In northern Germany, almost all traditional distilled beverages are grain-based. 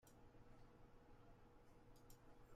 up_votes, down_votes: 0, 2